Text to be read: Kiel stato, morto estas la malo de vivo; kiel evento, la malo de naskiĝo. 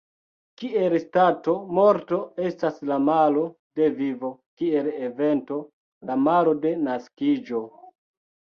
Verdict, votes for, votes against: rejected, 1, 2